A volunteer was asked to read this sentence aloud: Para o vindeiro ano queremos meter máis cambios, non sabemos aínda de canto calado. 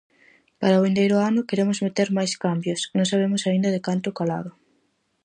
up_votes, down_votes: 4, 0